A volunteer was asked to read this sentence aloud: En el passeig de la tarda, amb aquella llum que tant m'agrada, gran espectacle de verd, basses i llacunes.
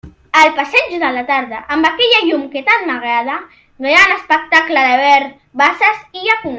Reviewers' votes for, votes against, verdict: 0, 2, rejected